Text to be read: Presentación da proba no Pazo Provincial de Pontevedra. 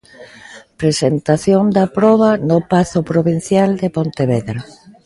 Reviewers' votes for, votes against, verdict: 0, 2, rejected